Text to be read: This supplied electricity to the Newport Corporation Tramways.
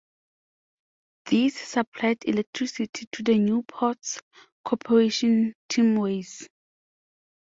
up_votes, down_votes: 0, 2